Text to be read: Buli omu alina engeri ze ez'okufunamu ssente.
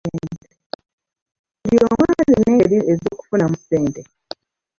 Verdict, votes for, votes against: rejected, 0, 2